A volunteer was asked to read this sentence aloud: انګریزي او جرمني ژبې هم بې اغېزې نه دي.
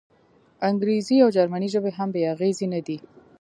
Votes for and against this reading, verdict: 0, 2, rejected